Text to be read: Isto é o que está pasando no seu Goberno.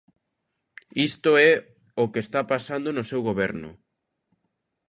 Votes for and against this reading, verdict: 2, 0, accepted